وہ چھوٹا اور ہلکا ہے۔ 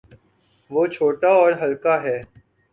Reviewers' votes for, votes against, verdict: 2, 0, accepted